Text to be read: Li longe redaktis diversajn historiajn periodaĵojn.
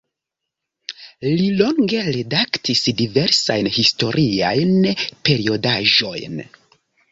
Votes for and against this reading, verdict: 2, 1, accepted